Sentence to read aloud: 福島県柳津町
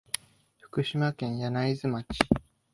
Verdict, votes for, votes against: accepted, 2, 1